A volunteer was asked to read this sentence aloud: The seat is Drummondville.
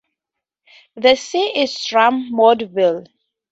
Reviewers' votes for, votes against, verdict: 0, 2, rejected